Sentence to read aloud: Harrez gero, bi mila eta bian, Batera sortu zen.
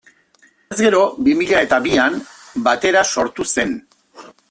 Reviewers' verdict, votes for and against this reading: rejected, 0, 2